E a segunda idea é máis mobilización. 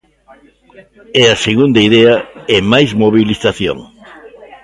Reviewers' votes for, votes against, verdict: 2, 0, accepted